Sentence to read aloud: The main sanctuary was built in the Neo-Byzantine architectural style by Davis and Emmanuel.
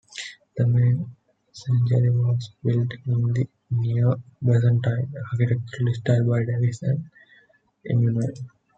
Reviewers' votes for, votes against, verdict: 0, 2, rejected